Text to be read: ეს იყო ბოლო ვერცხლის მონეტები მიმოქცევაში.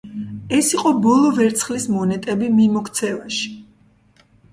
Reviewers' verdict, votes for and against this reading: rejected, 1, 2